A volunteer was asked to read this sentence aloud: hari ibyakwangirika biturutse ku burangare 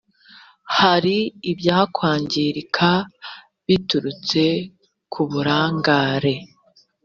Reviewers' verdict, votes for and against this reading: accepted, 2, 0